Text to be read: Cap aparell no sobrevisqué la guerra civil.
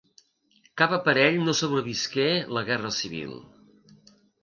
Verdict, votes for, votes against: accepted, 2, 0